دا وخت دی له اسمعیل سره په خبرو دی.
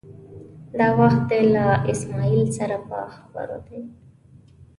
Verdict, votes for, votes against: accepted, 2, 0